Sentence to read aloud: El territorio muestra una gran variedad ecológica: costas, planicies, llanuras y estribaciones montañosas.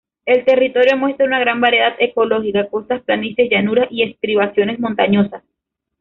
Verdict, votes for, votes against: accepted, 2, 1